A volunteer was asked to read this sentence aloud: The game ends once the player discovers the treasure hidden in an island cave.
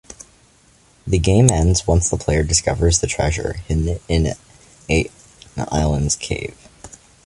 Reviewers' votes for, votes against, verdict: 3, 1, accepted